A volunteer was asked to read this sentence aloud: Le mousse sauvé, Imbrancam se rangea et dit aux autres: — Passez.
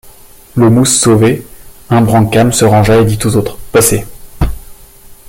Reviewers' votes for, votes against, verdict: 2, 0, accepted